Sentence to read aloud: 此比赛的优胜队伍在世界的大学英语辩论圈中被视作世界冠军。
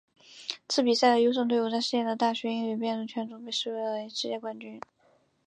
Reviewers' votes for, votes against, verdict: 5, 0, accepted